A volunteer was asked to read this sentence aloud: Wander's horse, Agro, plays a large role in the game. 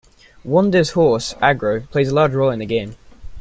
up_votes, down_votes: 2, 0